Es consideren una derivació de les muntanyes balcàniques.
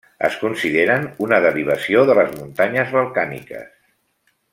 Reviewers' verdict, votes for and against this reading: accepted, 2, 0